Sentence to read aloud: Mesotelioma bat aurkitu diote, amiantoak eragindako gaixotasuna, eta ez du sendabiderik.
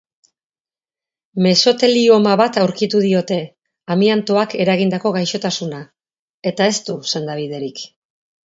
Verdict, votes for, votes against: accepted, 2, 0